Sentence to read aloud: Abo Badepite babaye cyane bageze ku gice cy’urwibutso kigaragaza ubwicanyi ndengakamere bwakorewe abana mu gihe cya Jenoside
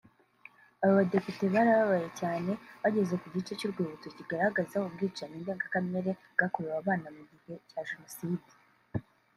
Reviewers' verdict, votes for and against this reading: accepted, 2, 0